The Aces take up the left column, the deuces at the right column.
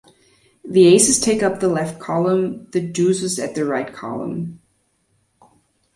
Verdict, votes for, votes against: accepted, 2, 0